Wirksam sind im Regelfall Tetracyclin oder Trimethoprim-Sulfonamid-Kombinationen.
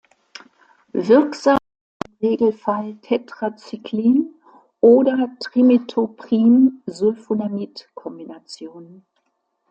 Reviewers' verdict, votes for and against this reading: rejected, 0, 2